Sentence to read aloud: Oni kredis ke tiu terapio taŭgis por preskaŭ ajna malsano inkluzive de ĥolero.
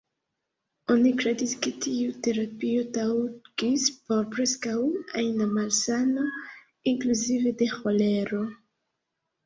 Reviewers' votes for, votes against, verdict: 1, 2, rejected